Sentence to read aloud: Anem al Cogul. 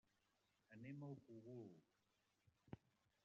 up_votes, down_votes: 0, 2